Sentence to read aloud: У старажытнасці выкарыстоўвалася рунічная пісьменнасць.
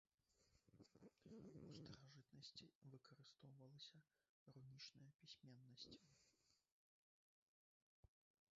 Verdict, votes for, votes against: rejected, 1, 2